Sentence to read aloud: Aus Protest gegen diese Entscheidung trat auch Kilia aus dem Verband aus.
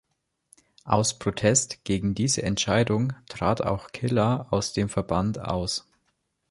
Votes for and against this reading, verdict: 0, 2, rejected